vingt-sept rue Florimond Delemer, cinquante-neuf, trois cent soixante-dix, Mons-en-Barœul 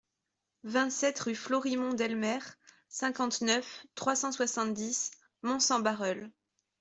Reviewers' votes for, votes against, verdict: 2, 1, accepted